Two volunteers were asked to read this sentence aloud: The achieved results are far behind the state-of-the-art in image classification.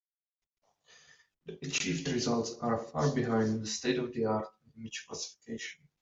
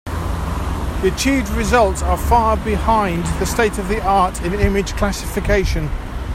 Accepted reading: second